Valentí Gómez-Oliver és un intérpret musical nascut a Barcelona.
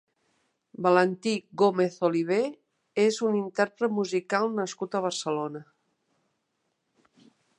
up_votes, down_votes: 2, 0